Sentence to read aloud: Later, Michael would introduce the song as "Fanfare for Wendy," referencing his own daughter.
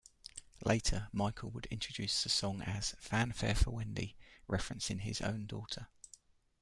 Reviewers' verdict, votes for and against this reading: accepted, 2, 0